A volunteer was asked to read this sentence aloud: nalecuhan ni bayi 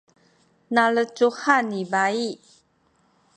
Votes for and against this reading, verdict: 2, 0, accepted